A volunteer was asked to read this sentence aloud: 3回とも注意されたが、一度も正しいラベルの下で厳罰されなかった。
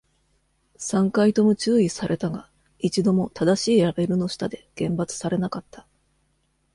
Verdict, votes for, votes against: rejected, 0, 2